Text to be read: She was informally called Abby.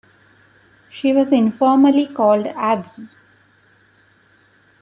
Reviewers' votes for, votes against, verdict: 2, 0, accepted